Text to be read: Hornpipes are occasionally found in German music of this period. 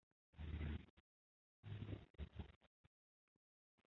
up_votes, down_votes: 0, 2